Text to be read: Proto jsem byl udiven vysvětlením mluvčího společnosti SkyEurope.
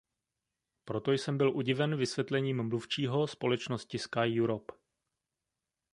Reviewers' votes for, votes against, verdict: 2, 0, accepted